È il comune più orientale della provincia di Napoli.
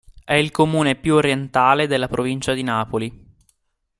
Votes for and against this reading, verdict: 2, 0, accepted